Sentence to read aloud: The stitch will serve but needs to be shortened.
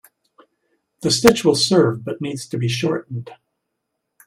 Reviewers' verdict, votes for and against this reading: accepted, 2, 1